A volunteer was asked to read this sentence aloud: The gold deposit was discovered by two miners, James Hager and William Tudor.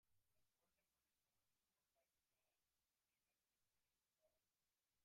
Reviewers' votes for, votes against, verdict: 0, 2, rejected